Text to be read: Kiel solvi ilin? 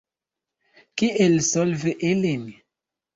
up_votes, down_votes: 2, 0